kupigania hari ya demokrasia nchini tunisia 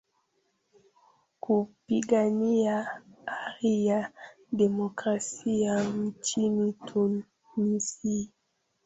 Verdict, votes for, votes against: rejected, 0, 2